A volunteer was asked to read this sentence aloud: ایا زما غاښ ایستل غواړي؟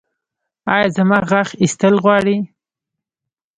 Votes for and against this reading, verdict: 0, 2, rejected